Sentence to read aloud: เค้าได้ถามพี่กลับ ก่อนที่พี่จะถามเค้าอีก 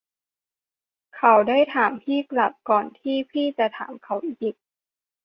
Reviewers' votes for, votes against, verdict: 0, 2, rejected